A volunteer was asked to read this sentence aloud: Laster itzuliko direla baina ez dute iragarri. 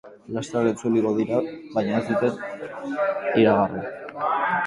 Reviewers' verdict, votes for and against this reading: rejected, 0, 2